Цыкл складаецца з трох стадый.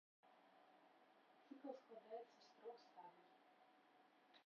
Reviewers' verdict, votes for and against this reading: rejected, 1, 2